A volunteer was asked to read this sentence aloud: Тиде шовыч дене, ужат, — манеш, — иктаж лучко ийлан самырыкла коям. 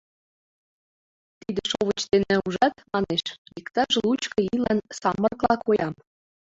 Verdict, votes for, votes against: rejected, 0, 3